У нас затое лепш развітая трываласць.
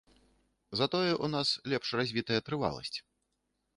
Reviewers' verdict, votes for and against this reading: rejected, 0, 2